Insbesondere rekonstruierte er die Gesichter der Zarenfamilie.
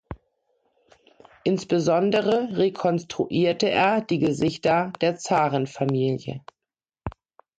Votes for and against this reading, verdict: 2, 0, accepted